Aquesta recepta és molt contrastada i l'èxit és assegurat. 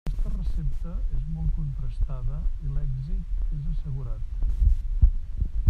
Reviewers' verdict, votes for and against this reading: rejected, 0, 2